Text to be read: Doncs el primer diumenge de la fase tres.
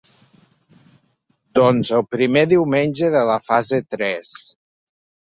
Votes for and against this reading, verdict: 3, 0, accepted